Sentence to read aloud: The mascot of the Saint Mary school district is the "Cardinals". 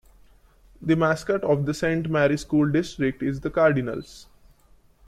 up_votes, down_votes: 2, 0